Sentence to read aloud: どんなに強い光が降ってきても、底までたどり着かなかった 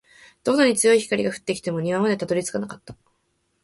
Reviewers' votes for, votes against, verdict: 1, 2, rejected